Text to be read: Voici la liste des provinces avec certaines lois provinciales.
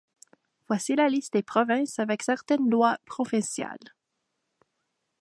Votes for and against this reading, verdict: 2, 1, accepted